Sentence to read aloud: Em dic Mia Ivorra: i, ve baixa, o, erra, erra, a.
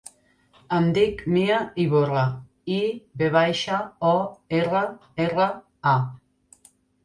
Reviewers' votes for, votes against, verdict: 1, 2, rejected